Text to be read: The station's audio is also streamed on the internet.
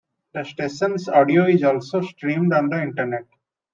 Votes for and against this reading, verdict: 2, 0, accepted